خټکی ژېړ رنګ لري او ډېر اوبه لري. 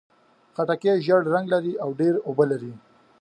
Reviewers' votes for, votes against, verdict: 2, 0, accepted